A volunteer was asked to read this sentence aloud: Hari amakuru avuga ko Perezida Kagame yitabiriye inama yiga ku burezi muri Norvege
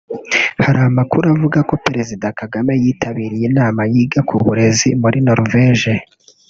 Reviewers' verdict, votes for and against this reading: rejected, 0, 2